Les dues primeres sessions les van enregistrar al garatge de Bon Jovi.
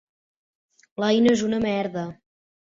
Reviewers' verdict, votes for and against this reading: rejected, 0, 2